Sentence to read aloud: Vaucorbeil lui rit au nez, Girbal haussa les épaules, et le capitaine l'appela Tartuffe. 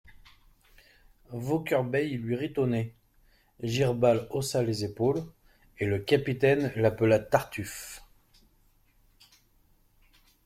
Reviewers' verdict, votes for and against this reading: accepted, 2, 0